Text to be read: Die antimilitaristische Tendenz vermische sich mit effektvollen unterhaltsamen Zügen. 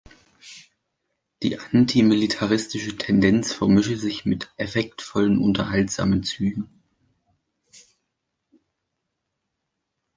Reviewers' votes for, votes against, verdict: 2, 0, accepted